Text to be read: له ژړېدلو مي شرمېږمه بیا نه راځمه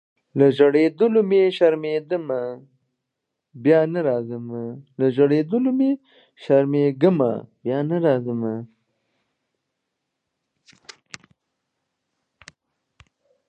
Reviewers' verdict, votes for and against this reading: rejected, 0, 2